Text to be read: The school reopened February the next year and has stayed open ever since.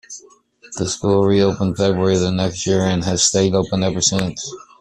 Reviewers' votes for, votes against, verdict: 2, 0, accepted